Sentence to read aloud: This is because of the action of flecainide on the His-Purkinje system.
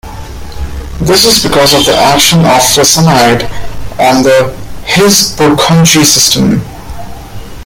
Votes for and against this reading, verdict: 0, 2, rejected